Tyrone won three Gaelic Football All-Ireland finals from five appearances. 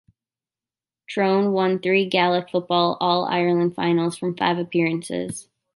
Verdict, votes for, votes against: rejected, 0, 2